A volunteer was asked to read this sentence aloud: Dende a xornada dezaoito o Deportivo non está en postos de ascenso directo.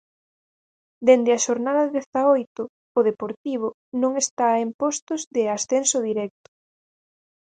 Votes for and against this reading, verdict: 4, 0, accepted